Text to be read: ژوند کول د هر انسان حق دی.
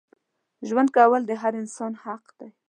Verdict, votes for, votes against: accepted, 2, 0